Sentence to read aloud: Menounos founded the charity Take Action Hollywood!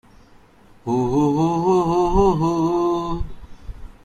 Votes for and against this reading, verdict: 0, 2, rejected